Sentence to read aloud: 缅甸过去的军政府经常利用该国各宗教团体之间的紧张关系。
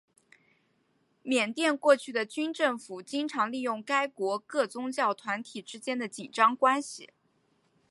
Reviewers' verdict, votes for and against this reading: rejected, 2, 3